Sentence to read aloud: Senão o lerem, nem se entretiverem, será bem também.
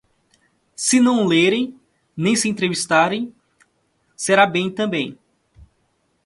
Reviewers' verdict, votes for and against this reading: rejected, 0, 2